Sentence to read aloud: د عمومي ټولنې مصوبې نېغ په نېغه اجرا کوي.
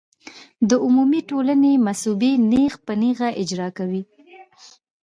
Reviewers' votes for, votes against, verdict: 2, 0, accepted